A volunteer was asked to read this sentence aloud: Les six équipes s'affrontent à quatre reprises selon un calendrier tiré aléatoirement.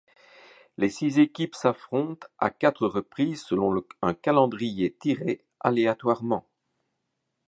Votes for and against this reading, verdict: 0, 2, rejected